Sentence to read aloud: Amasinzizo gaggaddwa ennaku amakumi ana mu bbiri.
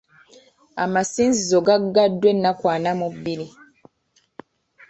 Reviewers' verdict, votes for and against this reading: rejected, 1, 3